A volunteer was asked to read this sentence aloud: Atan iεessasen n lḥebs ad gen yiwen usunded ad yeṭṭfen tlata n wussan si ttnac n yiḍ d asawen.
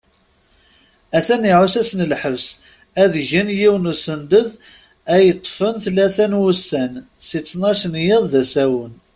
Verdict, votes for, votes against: rejected, 1, 2